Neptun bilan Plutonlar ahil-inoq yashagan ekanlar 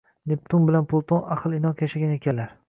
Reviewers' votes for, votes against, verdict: 0, 2, rejected